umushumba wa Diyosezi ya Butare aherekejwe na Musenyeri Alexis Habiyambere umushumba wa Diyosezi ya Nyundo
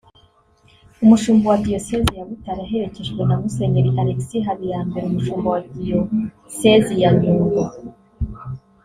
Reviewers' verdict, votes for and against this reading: accepted, 2, 0